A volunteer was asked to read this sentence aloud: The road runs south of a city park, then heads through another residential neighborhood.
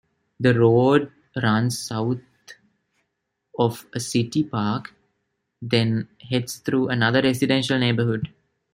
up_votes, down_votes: 1, 2